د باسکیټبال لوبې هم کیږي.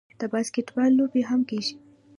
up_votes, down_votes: 0, 2